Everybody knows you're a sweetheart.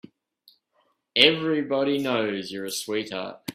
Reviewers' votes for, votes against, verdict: 2, 0, accepted